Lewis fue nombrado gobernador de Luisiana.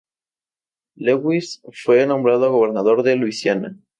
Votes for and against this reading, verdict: 2, 0, accepted